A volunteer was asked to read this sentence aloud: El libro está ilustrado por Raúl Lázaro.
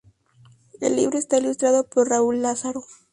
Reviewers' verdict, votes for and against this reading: rejected, 0, 2